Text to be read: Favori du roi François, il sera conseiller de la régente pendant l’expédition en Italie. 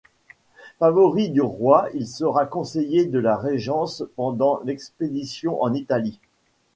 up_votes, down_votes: 1, 2